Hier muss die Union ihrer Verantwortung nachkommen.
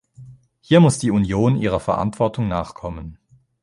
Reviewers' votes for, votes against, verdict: 2, 0, accepted